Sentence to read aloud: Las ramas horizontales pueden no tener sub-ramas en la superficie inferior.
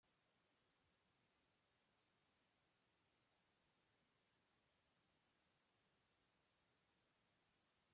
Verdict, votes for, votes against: rejected, 0, 2